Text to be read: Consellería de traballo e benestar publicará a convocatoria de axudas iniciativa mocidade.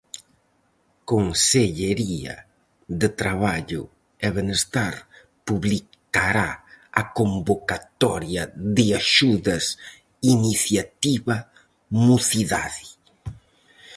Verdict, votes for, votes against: rejected, 2, 2